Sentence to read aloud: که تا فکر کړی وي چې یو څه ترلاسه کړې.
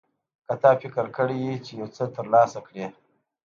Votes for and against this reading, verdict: 2, 0, accepted